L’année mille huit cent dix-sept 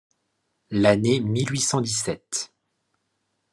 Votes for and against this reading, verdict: 2, 0, accepted